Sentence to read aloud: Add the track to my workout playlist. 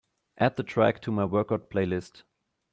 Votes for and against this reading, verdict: 2, 0, accepted